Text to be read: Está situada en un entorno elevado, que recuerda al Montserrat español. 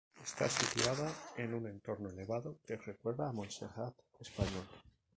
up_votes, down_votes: 0, 2